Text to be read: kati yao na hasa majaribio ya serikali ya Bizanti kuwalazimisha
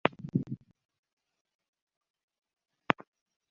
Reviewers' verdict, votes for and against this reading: rejected, 0, 4